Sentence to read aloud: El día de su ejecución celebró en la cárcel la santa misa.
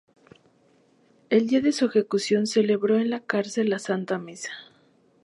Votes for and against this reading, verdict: 2, 0, accepted